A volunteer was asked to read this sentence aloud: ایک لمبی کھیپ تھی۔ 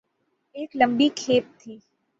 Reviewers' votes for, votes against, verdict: 6, 0, accepted